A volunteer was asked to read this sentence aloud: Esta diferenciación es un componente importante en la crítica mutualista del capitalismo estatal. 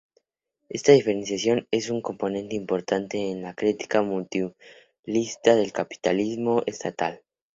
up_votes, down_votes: 0, 2